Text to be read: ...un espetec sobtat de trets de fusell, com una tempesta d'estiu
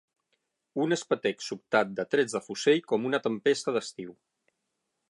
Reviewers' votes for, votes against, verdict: 3, 6, rejected